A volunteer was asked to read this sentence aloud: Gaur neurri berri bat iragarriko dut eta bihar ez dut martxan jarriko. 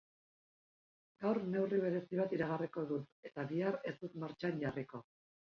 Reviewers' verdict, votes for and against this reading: accepted, 5, 1